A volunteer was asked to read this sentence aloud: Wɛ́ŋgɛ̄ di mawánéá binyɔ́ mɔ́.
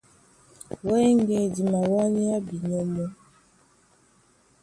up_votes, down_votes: 2, 0